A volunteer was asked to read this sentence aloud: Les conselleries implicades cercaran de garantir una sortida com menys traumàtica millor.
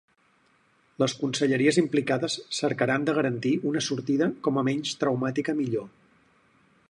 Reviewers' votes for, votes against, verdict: 0, 4, rejected